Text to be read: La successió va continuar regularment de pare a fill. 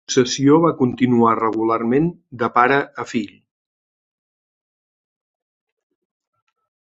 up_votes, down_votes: 1, 3